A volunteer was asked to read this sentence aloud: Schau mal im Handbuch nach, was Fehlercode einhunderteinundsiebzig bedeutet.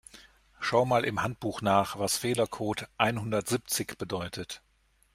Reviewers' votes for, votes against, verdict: 0, 2, rejected